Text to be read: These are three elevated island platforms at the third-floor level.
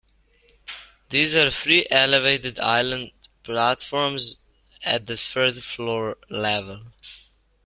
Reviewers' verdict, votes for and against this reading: accepted, 2, 0